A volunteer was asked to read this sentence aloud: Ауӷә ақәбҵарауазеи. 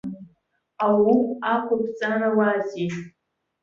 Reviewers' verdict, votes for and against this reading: accepted, 2, 1